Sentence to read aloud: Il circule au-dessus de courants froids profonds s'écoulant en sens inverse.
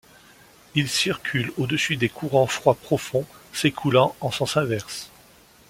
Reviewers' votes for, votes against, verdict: 1, 2, rejected